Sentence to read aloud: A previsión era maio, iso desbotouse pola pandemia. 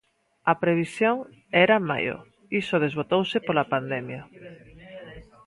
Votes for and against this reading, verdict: 1, 2, rejected